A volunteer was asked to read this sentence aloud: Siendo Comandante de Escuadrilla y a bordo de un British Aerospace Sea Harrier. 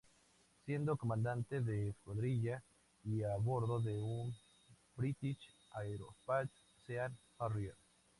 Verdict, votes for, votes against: accepted, 2, 0